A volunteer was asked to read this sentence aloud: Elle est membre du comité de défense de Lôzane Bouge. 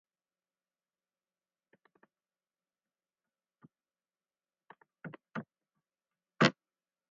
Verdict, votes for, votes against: rejected, 0, 4